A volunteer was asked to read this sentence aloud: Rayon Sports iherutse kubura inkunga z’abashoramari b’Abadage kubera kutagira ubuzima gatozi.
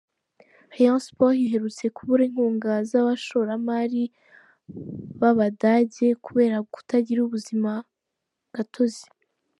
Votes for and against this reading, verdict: 4, 0, accepted